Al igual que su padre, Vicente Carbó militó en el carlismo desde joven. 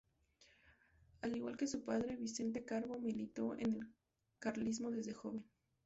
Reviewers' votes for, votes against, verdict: 2, 0, accepted